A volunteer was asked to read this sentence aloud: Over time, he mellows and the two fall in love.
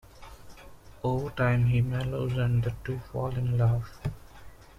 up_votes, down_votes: 2, 0